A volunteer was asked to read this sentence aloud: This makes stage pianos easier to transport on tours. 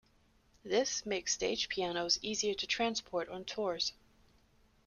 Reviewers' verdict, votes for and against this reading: accepted, 2, 0